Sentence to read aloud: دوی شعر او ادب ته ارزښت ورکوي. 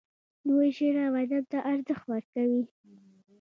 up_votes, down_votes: 1, 2